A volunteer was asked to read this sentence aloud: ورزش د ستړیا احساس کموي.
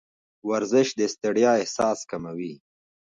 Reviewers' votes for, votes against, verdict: 3, 0, accepted